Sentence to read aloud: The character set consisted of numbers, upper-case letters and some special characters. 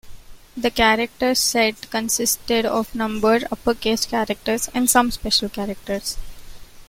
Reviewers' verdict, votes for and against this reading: rejected, 1, 2